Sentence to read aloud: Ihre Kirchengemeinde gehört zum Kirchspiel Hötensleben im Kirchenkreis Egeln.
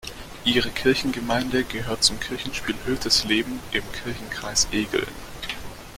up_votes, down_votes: 1, 2